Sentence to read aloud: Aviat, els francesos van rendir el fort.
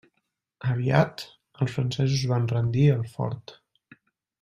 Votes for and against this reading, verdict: 3, 0, accepted